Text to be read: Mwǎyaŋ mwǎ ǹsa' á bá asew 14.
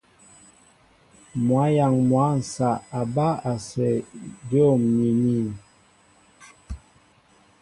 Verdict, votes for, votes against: rejected, 0, 2